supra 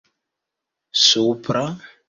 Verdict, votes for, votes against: accepted, 2, 0